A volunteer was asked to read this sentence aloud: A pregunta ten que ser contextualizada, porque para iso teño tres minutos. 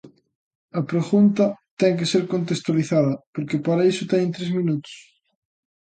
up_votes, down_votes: 2, 1